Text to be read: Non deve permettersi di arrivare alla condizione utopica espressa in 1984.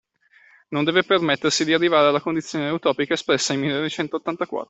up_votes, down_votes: 0, 2